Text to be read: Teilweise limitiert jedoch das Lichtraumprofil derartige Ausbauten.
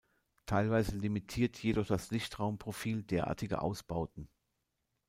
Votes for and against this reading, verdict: 2, 0, accepted